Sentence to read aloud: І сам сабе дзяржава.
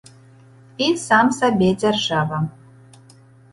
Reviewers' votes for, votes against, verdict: 2, 0, accepted